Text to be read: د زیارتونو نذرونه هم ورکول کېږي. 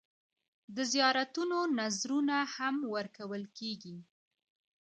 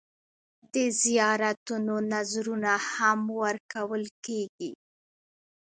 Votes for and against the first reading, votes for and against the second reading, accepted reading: 2, 0, 0, 2, first